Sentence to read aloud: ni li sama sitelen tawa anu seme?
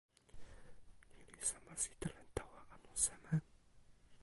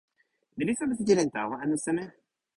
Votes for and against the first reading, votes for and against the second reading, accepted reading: 1, 2, 2, 1, second